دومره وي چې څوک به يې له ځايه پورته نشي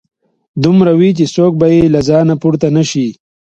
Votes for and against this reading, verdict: 0, 2, rejected